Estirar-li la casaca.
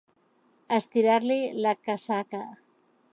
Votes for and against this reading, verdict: 2, 1, accepted